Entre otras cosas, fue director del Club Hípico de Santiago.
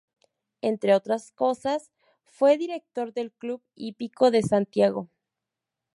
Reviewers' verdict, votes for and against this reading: rejected, 0, 2